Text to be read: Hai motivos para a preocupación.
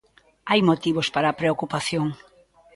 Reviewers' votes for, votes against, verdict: 1, 2, rejected